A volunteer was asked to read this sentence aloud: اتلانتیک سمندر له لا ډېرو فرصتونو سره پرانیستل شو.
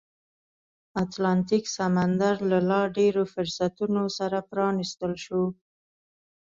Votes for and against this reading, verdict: 2, 0, accepted